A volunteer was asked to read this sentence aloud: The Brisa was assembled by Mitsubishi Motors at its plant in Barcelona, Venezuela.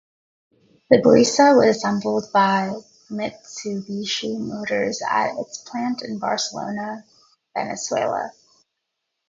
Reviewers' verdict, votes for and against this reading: rejected, 0, 2